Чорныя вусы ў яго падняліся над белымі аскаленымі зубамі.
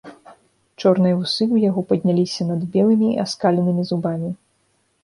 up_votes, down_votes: 1, 2